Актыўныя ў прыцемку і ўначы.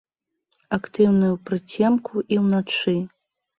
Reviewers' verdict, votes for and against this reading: rejected, 1, 2